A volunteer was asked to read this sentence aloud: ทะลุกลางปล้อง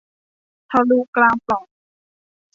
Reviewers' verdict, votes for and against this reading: rejected, 1, 2